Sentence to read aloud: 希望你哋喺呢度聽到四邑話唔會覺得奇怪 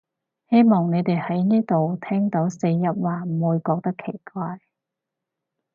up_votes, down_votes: 4, 0